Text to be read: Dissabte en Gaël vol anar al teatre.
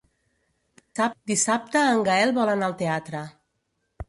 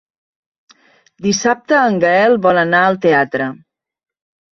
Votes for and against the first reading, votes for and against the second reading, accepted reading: 1, 2, 3, 0, second